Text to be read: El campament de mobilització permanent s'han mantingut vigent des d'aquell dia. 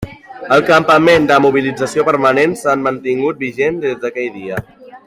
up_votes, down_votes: 2, 0